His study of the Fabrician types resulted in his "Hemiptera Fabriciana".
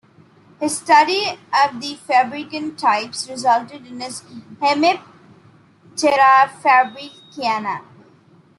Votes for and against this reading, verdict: 1, 2, rejected